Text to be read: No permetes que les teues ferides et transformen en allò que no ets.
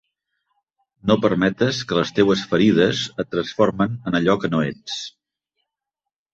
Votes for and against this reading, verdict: 7, 0, accepted